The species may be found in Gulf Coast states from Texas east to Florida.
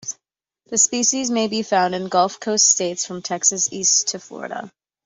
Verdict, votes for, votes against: accepted, 2, 0